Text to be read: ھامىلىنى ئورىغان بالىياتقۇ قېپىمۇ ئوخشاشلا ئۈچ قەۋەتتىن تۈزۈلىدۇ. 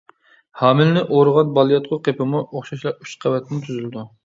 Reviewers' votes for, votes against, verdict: 1, 2, rejected